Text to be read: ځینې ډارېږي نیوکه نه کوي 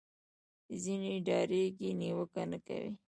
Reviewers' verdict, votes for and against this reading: accepted, 2, 1